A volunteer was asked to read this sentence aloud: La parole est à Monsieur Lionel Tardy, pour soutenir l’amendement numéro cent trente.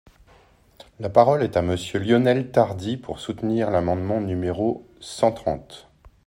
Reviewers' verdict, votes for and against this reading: accepted, 2, 0